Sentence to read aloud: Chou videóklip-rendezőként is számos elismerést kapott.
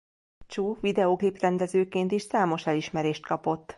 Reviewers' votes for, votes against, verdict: 2, 1, accepted